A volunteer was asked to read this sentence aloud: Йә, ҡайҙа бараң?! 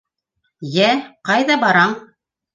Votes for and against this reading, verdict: 2, 0, accepted